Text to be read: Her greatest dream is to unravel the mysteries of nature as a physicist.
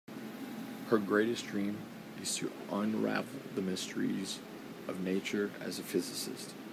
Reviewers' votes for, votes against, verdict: 3, 0, accepted